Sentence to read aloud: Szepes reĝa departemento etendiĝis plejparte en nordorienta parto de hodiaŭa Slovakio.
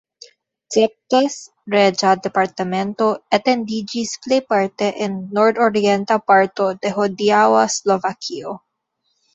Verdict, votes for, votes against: accepted, 2, 1